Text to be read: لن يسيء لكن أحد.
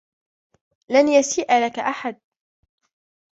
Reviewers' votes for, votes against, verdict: 1, 2, rejected